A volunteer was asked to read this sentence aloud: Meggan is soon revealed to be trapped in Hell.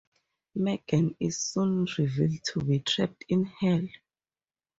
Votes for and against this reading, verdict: 4, 0, accepted